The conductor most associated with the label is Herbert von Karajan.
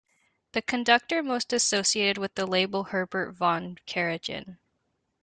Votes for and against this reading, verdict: 0, 2, rejected